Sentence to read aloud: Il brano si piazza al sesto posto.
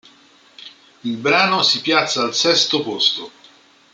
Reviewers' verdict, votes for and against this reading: accepted, 2, 0